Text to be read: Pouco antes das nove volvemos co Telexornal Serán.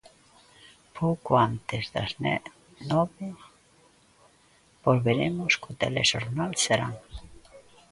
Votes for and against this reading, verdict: 0, 2, rejected